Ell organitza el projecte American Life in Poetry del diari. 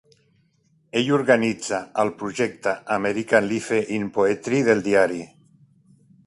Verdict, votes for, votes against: rejected, 0, 2